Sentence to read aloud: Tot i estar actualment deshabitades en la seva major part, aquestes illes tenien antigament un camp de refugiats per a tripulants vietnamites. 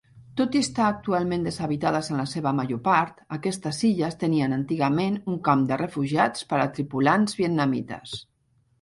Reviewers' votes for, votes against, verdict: 1, 2, rejected